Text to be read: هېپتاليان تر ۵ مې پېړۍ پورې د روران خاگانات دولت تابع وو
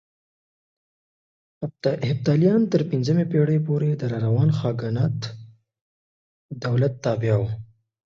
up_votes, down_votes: 0, 2